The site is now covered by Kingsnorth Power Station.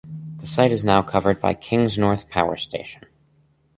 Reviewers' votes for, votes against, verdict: 4, 0, accepted